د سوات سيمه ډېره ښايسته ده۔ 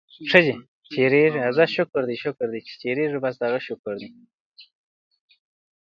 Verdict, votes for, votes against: rejected, 0, 2